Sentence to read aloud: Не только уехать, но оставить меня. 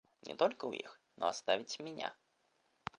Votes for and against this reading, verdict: 0, 2, rejected